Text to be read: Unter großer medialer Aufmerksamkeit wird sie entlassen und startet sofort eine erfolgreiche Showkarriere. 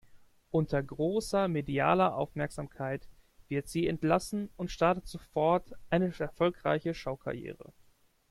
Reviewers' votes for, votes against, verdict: 1, 2, rejected